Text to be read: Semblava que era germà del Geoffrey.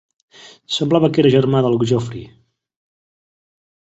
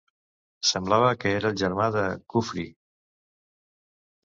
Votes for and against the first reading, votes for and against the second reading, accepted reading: 3, 0, 0, 2, first